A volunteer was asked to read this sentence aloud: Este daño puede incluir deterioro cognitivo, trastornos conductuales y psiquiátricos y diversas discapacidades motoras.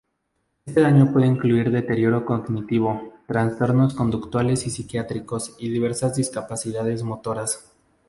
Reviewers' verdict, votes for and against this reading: accepted, 2, 0